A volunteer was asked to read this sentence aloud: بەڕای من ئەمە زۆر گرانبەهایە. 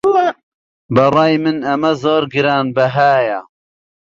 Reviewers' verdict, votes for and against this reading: rejected, 0, 2